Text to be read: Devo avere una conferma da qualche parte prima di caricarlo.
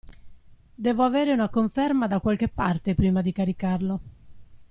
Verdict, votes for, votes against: accepted, 2, 0